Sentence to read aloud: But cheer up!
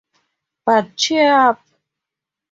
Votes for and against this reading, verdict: 2, 0, accepted